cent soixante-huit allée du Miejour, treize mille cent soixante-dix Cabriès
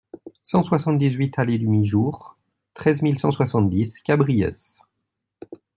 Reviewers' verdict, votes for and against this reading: rejected, 1, 2